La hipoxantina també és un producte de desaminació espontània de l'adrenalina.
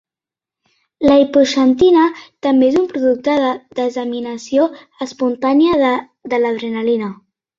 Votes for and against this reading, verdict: 1, 3, rejected